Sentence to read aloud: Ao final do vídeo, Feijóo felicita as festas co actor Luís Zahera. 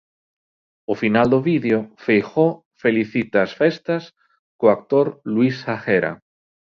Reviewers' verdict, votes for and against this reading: rejected, 0, 2